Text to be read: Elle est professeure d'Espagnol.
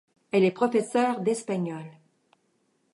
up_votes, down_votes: 2, 0